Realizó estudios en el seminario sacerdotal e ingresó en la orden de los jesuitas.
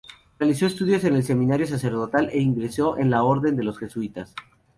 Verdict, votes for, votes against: accepted, 2, 0